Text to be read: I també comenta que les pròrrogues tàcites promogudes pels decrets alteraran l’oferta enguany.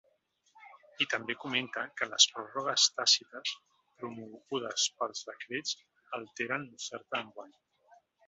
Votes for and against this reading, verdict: 0, 2, rejected